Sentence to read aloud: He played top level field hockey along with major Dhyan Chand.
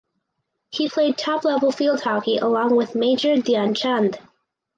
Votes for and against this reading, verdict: 4, 0, accepted